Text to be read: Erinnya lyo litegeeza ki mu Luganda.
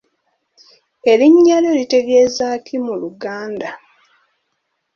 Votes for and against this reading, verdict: 2, 0, accepted